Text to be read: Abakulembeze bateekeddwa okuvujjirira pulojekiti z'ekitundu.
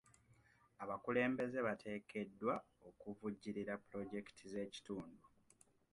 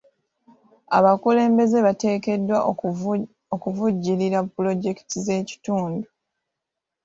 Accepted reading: first